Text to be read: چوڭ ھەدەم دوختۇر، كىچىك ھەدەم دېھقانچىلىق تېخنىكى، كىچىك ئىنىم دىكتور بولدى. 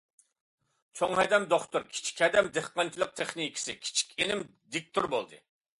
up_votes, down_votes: 0, 2